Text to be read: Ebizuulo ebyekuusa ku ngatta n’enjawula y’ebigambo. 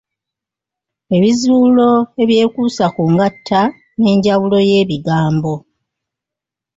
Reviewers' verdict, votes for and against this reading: rejected, 0, 2